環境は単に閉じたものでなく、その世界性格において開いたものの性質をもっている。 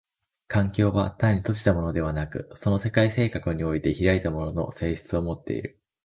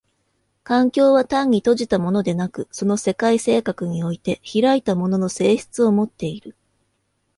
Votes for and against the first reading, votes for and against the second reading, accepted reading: 1, 2, 2, 0, second